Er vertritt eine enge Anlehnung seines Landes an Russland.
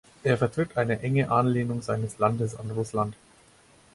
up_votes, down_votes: 4, 0